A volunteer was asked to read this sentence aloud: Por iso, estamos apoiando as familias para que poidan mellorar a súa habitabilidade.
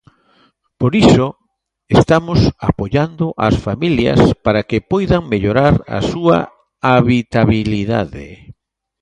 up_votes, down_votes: 2, 0